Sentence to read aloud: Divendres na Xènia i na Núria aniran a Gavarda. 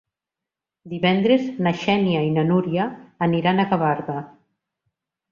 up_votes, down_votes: 2, 0